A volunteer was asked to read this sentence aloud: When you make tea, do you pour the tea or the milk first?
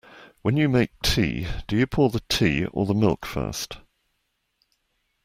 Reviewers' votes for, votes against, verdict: 2, 0, accepted